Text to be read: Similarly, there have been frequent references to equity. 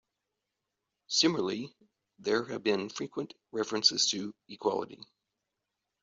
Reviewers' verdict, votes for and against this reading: accepted, 2, 0